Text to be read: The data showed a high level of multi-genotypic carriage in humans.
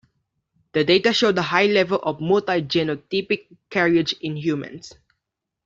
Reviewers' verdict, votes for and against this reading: rejected, 0, 2